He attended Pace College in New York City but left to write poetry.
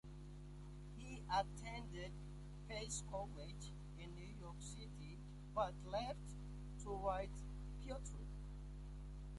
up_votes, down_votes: 0, 2